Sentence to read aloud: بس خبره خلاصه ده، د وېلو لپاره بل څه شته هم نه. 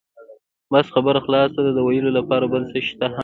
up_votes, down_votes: 0, 2